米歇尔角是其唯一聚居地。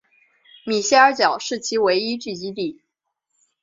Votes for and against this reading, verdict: 2, 0, accepted